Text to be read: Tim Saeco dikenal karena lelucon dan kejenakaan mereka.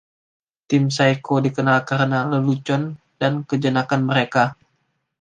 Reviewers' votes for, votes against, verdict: 2, 1, accepted